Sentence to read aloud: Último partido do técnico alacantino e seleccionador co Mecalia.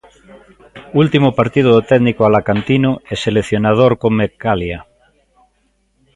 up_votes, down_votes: 2, 0